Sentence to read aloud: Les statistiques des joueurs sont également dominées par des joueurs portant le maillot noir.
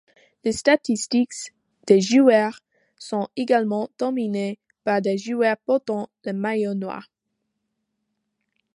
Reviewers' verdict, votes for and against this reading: accepted, 2, 0